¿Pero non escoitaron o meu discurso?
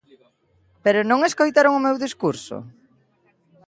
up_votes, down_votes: 2, 0